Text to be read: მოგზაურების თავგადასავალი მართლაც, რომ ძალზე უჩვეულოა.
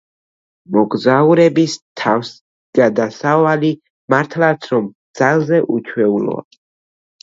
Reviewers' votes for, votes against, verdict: 1, 2, rejected